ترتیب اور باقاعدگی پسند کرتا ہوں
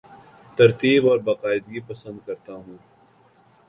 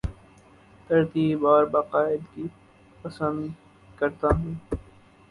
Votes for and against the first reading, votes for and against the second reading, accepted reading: 3, 0, 0, 2, first